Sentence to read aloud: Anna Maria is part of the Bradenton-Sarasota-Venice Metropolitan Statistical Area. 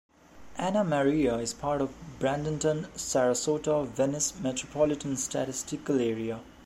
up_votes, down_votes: 1, 2